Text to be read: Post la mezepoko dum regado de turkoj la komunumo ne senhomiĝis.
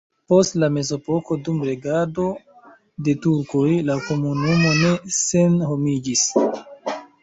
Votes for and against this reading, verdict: 1, 2, rejected